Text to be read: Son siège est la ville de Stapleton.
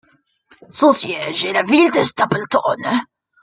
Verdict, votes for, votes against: rejected, 0, 2